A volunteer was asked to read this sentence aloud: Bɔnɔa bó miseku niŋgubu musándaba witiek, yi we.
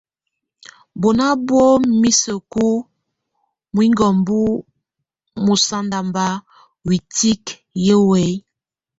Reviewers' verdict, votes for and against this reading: rejected, 1, 2